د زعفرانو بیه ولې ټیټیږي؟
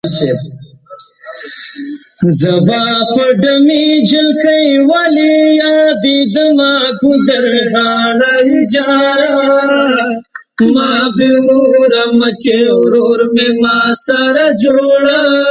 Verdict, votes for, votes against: rejected, 1, 3